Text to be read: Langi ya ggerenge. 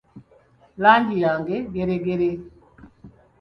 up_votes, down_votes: 1, 2